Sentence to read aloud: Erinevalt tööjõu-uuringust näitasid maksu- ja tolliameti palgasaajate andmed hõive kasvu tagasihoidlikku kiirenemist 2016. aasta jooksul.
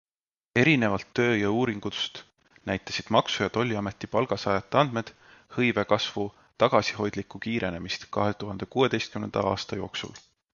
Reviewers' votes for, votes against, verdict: 0, 2, rejected